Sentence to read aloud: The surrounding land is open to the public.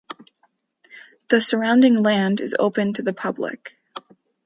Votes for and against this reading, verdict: 2, 0, accepted